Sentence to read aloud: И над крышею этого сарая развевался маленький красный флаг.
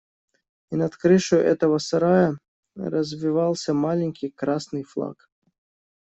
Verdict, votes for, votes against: rejected, 1, 2